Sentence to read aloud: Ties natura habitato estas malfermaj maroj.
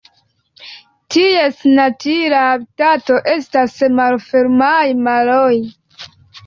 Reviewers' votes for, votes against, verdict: 2, 1, accepted